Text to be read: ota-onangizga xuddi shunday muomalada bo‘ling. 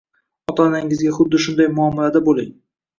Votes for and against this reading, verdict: 2, 1, accepted